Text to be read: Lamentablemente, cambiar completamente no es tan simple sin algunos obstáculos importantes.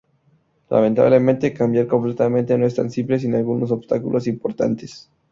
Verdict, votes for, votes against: accepted, 2, 0